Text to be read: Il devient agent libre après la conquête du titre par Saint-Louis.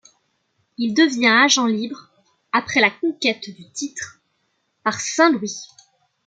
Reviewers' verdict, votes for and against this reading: accepted, 2, 0